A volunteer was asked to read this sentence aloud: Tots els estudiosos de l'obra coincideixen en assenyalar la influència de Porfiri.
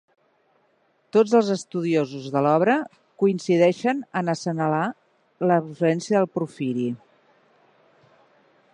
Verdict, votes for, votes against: rejected, 0, 2